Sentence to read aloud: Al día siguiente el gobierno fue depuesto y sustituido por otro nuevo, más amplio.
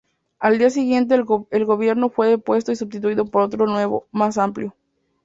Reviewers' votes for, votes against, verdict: 0, 2, rejected